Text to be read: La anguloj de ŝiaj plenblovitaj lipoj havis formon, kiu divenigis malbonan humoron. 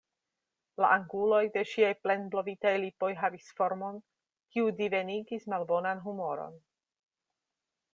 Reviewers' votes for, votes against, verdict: 2, 0, accepted